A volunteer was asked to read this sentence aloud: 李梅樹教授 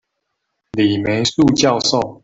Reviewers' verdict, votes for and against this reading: rejected, 0, 2